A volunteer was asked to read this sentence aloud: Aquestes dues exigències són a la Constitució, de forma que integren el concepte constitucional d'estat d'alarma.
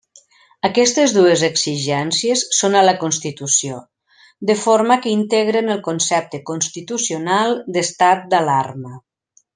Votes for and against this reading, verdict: 3, 0, accepted